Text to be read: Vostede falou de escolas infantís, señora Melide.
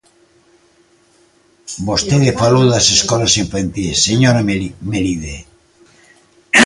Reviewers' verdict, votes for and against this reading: rejected, 0, 2